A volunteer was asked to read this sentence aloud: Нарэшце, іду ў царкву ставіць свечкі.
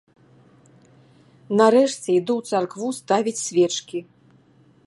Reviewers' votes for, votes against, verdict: 2, 0, accepted